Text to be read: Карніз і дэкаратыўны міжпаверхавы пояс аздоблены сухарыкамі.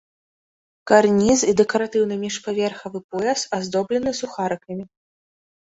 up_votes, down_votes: 2, 0